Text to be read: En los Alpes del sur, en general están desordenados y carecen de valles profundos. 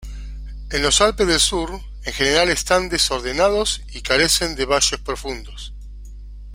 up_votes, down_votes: 2, 1